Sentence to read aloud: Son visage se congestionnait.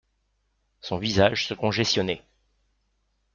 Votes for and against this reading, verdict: 0, 2, rejected